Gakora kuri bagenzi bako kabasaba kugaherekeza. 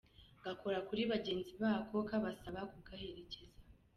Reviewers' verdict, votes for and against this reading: accepted, 2, 0